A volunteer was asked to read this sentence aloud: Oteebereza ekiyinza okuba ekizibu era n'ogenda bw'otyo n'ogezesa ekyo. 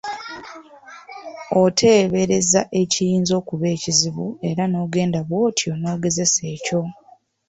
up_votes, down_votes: 1, 2